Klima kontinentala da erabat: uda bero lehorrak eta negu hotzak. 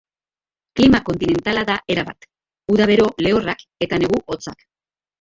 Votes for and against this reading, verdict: 2, 0, accepted